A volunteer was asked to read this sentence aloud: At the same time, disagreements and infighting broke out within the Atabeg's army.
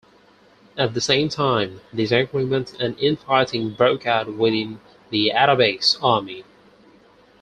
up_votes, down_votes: 4, 0